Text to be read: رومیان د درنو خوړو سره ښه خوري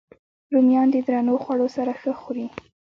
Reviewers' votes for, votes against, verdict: 2, 0, accepted